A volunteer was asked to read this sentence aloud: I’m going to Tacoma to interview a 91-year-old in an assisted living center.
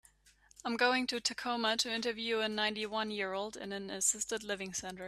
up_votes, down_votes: 0, 2